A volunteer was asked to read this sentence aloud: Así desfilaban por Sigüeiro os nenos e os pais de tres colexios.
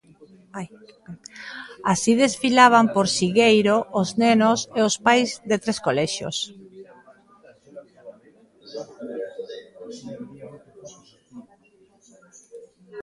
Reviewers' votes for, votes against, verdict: 0, 2, rejected